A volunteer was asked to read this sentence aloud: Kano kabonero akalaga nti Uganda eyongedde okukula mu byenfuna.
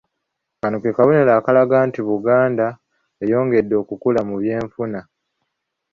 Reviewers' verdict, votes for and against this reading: rejected, 1, 2